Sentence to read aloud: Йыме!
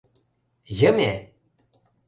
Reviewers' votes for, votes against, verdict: 2, 0, accepted